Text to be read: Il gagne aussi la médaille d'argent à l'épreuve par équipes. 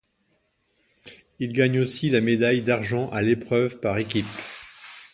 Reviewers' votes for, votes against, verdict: 2, 0, accepted